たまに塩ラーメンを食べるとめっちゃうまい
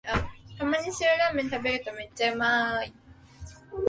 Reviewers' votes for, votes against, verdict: 0, 4, rejected